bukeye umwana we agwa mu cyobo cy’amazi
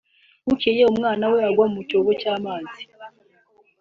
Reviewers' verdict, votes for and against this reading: accepted, 2, 0